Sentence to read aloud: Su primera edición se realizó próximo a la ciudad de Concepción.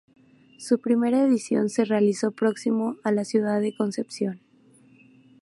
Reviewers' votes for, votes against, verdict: 2, 0, accepted